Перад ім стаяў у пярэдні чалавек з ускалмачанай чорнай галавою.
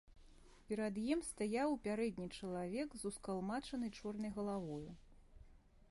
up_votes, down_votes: 1, 2